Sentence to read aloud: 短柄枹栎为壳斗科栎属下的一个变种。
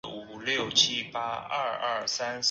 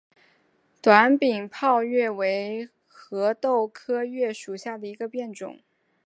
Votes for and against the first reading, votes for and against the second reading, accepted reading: 0, 4, 2, 1, second